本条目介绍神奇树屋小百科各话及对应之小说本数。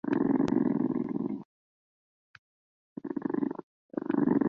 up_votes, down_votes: 0, 2